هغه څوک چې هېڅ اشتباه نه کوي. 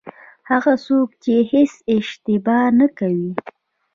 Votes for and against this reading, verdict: 0, 2, rejected